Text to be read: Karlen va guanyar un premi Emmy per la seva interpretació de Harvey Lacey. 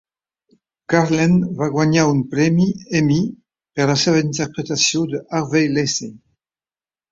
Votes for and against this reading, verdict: 2, 0, accepted